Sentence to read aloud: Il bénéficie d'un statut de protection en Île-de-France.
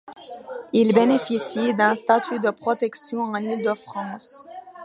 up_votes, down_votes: 2, 1